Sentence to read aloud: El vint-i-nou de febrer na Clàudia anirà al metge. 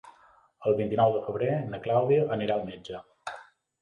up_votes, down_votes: 2, 0